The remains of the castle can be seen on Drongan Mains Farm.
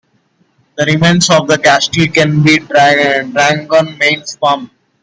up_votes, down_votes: 1, 2